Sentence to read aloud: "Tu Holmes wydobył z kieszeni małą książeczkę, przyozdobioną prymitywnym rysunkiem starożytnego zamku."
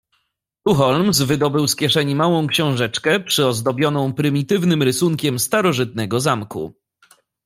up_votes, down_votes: 1, 2